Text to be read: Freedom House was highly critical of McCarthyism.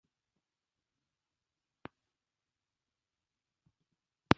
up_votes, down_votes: 0, 2